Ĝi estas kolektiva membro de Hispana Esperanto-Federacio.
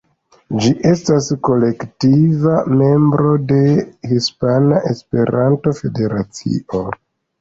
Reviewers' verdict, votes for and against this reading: rejected, 1, 2